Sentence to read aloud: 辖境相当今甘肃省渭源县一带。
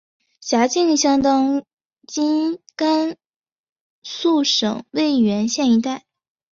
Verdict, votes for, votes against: accepted, 7, 2